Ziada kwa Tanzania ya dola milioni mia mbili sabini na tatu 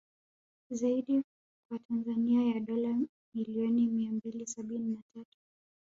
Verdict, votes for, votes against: accepted, 5, 1